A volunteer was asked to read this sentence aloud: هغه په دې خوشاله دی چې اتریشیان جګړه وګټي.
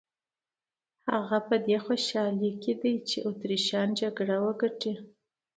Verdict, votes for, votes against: accepted, 2, 0